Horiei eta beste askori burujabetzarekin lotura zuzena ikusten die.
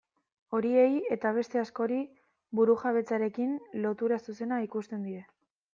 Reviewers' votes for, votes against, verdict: 2, 0, accepted